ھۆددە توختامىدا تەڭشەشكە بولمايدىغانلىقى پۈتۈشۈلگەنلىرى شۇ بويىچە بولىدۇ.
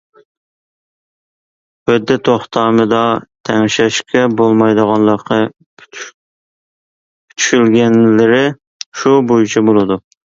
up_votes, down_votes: 0, 2